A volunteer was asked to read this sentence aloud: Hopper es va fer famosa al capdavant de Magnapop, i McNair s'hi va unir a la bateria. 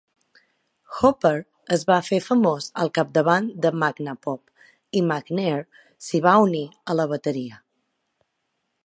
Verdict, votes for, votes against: rejected, 1, 2